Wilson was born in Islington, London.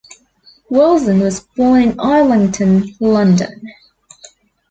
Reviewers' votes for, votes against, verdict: 2, 0, accepted